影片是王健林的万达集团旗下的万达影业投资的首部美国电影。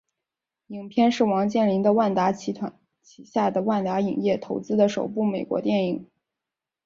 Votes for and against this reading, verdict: 2, 0, accepted